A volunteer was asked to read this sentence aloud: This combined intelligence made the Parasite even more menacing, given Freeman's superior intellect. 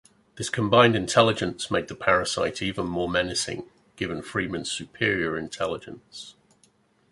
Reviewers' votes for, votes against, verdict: 1, 2, rejected